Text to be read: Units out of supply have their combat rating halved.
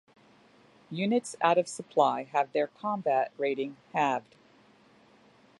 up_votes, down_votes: 2, 0